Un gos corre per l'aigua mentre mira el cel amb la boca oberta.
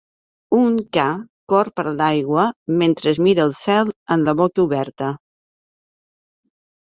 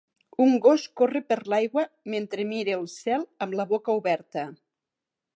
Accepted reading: second